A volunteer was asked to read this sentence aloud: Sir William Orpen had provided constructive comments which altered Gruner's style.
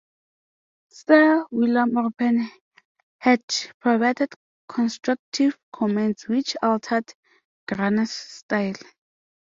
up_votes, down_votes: 2, 0